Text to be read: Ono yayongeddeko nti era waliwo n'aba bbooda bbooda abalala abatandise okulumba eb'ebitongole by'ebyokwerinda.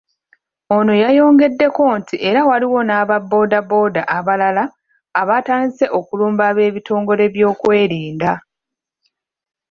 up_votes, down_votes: 0, 2